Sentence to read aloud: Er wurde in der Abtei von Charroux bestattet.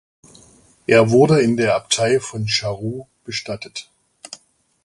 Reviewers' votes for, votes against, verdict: 2, 1, accepted